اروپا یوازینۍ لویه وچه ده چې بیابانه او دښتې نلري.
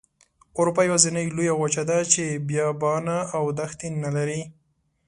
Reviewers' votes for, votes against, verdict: 2, 0, accepted